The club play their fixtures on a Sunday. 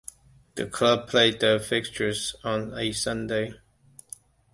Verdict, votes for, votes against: accepted, 2, 0